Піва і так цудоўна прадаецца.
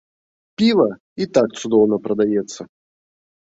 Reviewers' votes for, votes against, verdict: 2, 0, accepted